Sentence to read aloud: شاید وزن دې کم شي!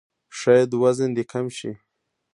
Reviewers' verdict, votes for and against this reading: accepted, 2, 1